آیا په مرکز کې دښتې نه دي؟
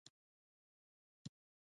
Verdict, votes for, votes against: accepted, 2, 0